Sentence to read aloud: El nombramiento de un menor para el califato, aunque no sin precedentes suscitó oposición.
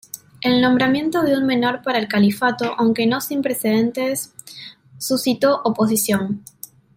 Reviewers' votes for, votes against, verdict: 2, 0, accepted